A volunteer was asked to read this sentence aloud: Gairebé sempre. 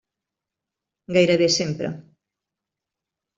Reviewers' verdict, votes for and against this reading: accepted, 3, 1